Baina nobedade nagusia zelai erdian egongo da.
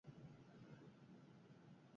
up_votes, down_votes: 0, 8